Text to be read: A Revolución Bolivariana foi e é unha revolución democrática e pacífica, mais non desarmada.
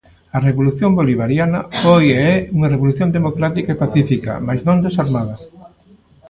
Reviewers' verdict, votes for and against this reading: accepted, 2, 0